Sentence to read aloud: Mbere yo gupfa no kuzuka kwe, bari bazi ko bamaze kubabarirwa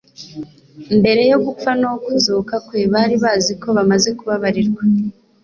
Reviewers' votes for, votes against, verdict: 2, 0, accepted